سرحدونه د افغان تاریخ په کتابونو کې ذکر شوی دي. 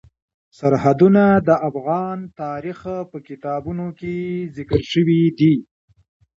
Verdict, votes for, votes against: accepted, 2, 0